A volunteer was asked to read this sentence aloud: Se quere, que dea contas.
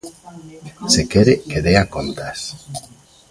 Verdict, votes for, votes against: rejected, 1, 2